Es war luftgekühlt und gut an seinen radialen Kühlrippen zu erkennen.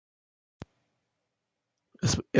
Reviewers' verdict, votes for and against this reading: rejected, 0, 2